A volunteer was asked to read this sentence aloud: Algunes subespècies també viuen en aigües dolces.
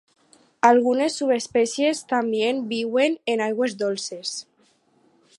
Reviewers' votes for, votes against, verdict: 4, 0, accepted